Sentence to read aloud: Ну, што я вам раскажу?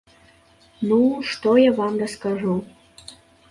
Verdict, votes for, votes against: accepted, 2, 0